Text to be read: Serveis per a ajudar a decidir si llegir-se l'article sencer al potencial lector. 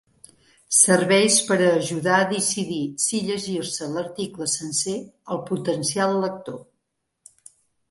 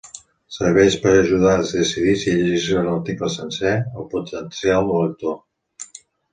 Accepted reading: first